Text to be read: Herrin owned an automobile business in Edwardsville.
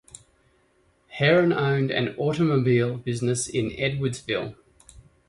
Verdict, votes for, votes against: accepted, 2, 0